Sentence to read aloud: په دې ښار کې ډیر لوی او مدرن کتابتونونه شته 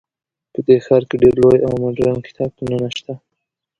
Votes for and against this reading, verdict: 1, 2, rejected